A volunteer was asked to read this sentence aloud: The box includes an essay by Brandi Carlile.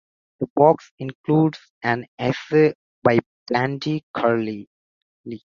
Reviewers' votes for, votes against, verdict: 0, 2, rejected